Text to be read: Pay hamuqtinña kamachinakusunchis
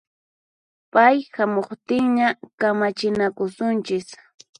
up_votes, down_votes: 6, 0